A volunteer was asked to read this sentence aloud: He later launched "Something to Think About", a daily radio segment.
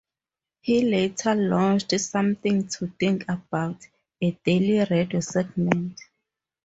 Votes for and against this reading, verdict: 0, 2, rejected